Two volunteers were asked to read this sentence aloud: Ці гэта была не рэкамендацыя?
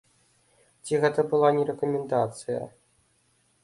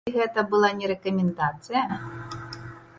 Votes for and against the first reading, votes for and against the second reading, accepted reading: 2, 0, 0, 2, first